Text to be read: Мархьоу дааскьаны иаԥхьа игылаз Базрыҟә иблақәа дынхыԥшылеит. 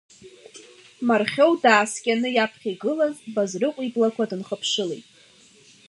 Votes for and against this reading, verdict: 2, 1, accepted